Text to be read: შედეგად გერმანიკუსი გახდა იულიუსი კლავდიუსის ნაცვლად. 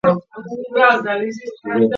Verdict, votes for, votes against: rejected, 0, 2